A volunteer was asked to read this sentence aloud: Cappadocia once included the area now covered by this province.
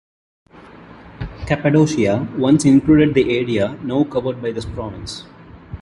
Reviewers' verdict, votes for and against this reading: accepted, 2, 0